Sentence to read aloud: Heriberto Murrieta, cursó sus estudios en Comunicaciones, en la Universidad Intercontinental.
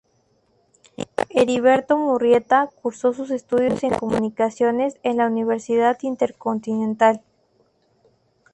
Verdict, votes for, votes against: rejected, 2, 2